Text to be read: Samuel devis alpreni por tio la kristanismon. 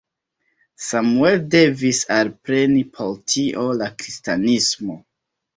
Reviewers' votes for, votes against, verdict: 2, 0, accepted